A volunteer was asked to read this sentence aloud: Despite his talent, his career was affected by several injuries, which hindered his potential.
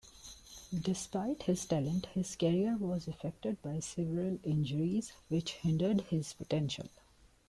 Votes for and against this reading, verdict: 2, 0, accepted